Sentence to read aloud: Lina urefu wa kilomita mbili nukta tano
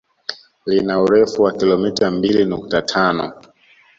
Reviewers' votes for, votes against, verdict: 2, 1, accepted